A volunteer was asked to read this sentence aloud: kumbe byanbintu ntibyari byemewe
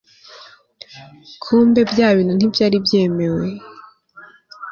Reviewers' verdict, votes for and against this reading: accepted, 2, 0